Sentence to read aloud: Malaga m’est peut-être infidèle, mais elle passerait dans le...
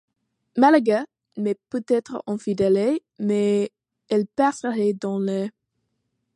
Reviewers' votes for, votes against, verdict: 2, 0, accepted